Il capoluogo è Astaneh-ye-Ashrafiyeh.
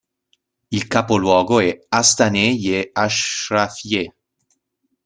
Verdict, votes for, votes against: rejected, 0, 2